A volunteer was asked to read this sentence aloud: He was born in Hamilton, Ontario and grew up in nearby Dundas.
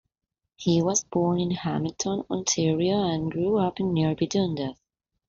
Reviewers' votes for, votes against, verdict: 3, 0, accepted